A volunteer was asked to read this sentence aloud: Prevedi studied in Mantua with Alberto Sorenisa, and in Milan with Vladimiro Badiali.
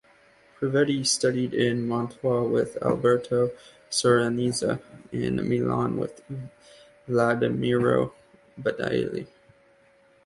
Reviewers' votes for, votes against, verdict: 0, 2, rejected